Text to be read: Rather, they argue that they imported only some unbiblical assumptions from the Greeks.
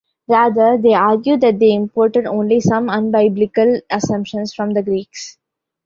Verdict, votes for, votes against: rejected, 1, 2